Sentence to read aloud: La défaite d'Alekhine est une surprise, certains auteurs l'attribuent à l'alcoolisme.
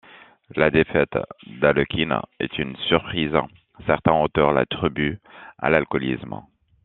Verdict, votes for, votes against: accepted, 2, 0